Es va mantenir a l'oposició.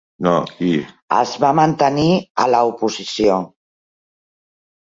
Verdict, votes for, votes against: rejected, 0, 2